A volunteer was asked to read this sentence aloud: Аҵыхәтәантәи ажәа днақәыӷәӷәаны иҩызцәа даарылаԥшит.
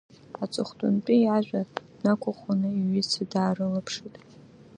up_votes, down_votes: 1, 2